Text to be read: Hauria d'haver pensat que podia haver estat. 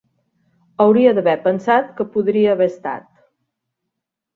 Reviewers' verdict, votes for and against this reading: rejected, 0, 2